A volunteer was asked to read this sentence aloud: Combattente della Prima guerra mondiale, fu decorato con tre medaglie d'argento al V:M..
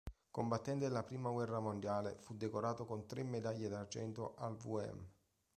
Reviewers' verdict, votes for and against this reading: rejected, 1, 2